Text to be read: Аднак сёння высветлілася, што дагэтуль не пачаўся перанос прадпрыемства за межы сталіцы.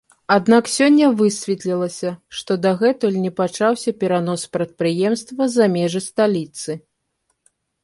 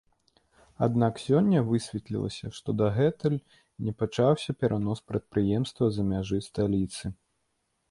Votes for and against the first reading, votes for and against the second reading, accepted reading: 2, 0, 0, 2, first